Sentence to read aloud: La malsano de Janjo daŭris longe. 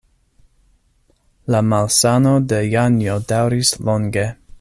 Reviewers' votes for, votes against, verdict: 2, 0, accepted